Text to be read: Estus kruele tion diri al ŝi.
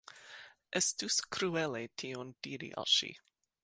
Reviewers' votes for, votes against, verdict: 2, 0, accepted